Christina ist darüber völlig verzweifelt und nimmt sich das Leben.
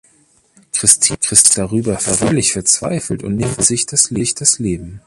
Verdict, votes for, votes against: rejected, 0, 2